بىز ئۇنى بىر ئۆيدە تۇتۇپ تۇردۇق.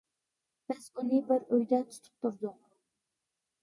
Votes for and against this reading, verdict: 1, 2, rejected